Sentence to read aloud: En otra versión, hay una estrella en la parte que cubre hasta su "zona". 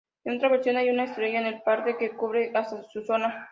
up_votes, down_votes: 0, 3